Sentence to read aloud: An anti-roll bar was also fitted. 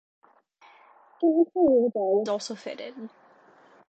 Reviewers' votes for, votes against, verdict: 1, 2, rejected